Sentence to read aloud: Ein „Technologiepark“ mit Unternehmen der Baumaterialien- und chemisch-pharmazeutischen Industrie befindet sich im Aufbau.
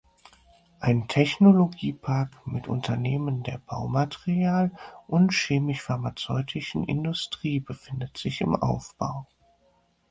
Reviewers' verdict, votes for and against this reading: rejected, 2, 6